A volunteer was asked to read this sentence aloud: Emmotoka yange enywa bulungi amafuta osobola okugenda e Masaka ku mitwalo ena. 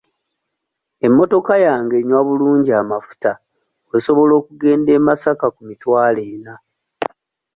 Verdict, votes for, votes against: accepted, 2, 0